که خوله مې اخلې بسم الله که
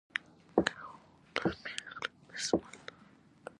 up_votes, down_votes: 0, 2